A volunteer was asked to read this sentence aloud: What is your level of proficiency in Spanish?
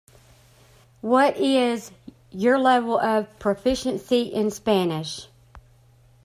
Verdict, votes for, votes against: accepted, 2, 0